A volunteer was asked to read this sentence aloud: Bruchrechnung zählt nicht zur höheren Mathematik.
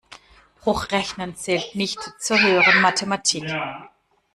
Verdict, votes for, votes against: rejected, 1, 2